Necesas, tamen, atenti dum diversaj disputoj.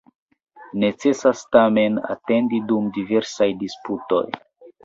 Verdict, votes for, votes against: rejected, 0, 2